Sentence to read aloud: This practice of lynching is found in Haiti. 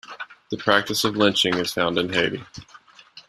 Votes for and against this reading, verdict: 1, 2, rejected